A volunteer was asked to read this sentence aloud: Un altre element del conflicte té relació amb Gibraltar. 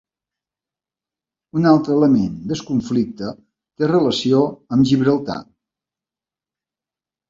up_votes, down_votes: 1, 2